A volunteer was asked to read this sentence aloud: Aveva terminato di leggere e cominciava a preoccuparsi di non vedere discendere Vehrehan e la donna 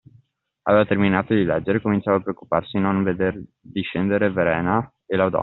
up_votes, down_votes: 1, 2